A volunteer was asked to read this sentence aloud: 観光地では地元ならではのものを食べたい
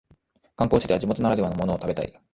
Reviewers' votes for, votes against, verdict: 1, 2, rejected